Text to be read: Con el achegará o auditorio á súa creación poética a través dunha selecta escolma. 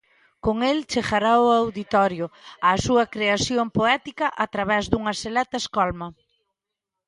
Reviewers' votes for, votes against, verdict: 0, 2, rejected